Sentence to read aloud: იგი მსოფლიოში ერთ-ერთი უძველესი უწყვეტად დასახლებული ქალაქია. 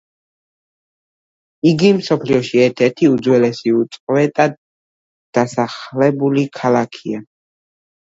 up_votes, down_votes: 2, 1